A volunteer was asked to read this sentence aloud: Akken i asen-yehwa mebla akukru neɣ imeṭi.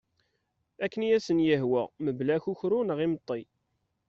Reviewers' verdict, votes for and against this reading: accepted, 2, 0